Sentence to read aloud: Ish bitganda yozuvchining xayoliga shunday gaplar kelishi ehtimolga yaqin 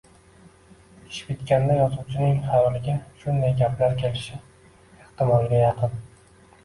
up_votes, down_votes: 1, 2